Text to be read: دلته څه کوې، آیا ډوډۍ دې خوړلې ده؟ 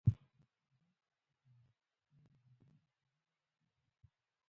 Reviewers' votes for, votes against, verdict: 0, 2, rejected